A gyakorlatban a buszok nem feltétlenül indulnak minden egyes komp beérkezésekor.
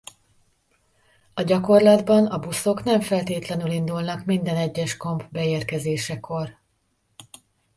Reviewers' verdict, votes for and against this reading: accepted, 2, 0